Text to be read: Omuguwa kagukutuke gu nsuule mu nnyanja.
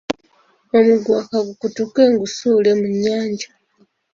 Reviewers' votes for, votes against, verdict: 2, 1, accepted